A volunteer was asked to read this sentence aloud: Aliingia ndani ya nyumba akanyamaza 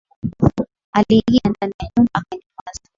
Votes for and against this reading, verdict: 2, 0, accepted